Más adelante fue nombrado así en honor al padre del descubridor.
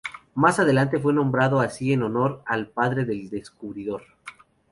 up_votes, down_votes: 2, 0